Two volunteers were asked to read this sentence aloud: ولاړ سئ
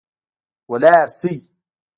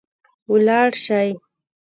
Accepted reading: second